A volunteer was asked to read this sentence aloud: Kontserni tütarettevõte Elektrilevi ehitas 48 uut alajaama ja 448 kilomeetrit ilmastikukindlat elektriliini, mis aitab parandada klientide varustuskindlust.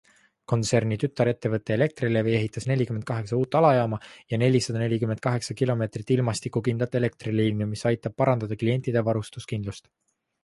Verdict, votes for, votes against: rejected, 0, 2